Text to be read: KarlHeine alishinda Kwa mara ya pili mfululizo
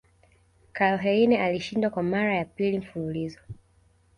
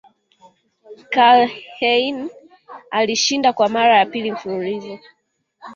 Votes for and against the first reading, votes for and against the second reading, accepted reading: 2, 0, 3, 4, first